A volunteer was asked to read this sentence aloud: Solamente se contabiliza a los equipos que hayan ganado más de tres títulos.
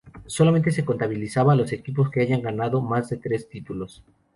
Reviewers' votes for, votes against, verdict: 2, 2, rejected